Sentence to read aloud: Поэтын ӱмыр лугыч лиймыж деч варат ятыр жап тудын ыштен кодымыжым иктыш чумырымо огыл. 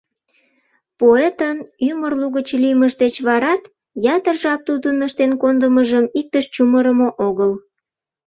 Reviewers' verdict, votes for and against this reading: rejected, 0, 2